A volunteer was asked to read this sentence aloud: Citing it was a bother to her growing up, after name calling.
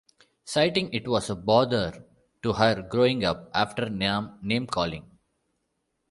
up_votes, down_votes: 1, 2